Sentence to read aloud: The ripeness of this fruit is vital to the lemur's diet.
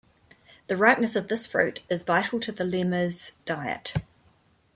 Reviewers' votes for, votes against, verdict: 1, 2, rejected